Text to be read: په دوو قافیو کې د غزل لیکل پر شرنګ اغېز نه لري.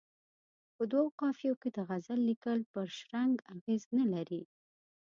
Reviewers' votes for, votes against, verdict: 2, 1, accepted